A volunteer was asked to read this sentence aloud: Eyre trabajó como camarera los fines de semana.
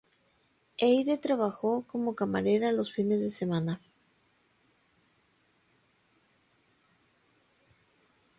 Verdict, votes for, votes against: accepted, 2, 0